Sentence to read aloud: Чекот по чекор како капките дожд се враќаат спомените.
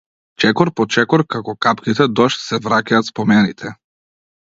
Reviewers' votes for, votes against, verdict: 2, 0, accepted